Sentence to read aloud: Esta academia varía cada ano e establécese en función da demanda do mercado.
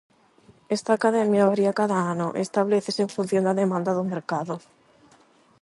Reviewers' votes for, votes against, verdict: 0, 8, rejected